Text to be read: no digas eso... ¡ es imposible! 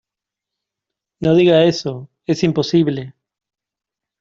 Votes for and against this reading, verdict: 0, 2, rejected